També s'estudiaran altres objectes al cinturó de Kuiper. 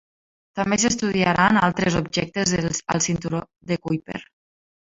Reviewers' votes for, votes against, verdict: 1, 3, rejected